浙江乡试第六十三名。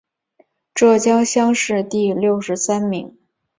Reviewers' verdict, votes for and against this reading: accepted, 2, 0